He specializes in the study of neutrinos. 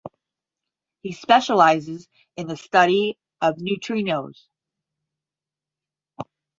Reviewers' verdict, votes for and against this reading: accepted, 10, 0